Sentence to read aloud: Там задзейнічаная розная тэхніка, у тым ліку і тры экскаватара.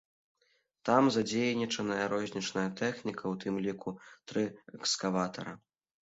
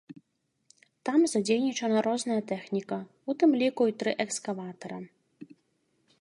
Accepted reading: second